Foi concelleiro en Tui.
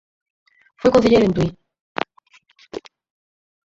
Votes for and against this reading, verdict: 4, 2, accepted